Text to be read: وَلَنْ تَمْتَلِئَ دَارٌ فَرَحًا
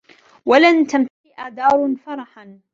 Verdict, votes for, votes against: rejected, 0, 2